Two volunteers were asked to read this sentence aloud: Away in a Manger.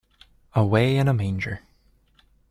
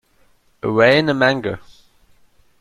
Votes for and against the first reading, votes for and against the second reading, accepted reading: 2, 0, 0, 2, first